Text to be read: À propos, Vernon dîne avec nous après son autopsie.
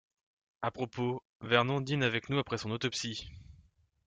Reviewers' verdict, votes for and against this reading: accepted, 2, 0